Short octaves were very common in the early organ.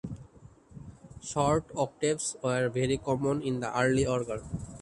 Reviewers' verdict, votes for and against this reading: rejected, 0, 2